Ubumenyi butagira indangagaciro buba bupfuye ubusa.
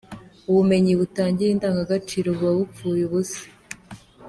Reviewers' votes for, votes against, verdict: 2, 0, accepted